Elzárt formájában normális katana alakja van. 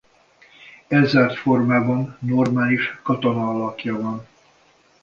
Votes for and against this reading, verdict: 1, 2, rejected